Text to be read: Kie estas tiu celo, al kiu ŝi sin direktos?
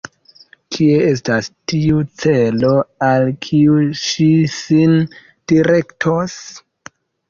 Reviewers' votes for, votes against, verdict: 2, 1, accepted